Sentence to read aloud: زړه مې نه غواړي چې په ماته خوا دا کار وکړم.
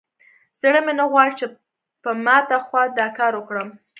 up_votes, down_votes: 3, 0